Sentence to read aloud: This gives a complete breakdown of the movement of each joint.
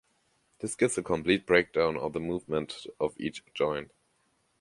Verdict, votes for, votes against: accepted, 2, 0